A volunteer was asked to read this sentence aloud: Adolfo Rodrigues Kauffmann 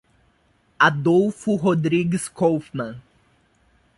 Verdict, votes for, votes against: rejected, 0, 2